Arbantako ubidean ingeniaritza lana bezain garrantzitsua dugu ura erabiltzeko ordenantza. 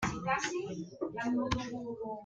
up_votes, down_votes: 0, 2